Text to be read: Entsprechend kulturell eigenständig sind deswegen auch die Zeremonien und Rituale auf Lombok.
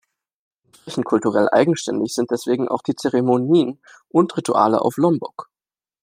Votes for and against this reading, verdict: 0, 2, rejected